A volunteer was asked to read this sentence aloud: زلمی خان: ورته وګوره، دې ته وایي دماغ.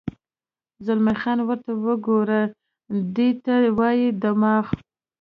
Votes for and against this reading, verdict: 2, 0, accepted